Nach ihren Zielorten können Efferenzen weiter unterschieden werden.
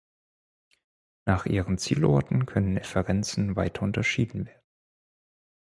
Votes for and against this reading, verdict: 2, 4, rejected